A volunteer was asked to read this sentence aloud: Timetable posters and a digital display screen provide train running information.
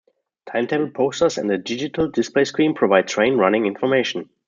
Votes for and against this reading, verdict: 2, 0, accepted